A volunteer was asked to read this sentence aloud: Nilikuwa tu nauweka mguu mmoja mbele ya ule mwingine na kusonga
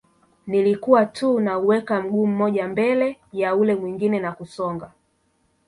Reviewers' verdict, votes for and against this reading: rejected, 1, 2